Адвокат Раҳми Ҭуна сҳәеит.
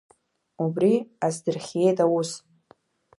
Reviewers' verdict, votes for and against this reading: rejected, 0, 2